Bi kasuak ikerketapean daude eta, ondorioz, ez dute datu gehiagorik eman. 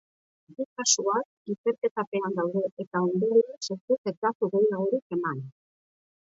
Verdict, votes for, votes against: rejected, 1, 3